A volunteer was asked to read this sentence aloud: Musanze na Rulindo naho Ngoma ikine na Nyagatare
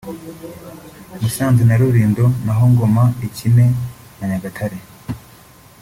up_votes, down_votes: 2, 0